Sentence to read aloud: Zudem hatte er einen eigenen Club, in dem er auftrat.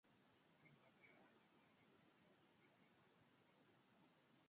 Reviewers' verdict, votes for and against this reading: rejected, 0, 2